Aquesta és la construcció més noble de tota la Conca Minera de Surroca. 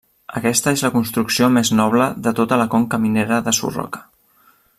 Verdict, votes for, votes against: accepted, 2, 0